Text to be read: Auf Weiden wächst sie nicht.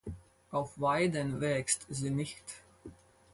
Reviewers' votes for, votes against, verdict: 4, 0, accepted